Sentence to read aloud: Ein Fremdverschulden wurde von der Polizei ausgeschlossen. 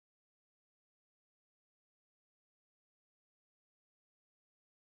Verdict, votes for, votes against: rejected, 0, 2